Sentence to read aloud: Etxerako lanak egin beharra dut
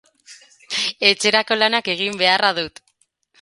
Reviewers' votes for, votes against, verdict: 2, 2, rejected